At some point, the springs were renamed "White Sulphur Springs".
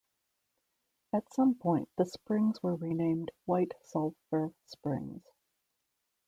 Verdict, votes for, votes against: rejected, 1, 2